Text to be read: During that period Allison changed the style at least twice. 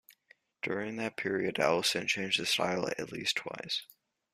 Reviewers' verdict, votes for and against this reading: rejected, 1, 2